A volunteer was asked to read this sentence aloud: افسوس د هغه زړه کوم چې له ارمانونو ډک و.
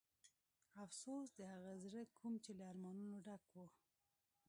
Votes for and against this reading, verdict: 0, 2, rejected